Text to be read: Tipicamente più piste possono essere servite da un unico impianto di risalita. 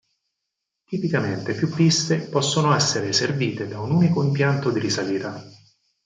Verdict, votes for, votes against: rejected, 2, 4